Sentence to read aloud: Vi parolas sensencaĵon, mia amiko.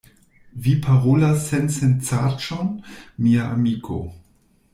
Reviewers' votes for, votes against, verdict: 1, 2, rejected